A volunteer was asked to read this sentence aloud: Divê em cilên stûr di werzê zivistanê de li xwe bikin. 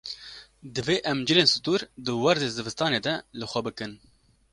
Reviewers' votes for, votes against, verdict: 2, 0, accepted